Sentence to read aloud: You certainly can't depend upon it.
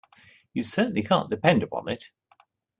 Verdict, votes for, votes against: accepted, 2, 0